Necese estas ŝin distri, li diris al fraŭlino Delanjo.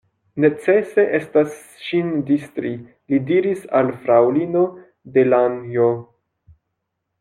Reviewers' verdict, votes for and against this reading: accepted, 2, 1